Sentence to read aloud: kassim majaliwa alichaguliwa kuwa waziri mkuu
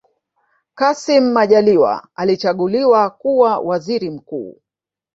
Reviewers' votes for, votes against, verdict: 1, 2, rejected